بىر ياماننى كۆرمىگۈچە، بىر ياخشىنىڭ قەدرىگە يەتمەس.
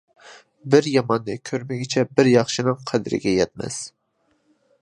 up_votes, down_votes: 2, 0